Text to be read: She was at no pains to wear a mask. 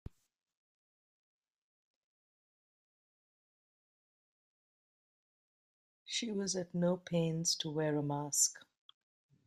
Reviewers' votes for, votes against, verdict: 2, 0, accepted